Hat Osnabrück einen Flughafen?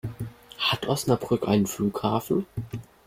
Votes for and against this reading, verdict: 2, 1, accepted